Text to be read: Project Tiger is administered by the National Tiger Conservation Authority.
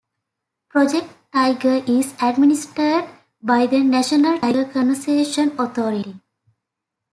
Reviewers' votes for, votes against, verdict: 0, 2, rejected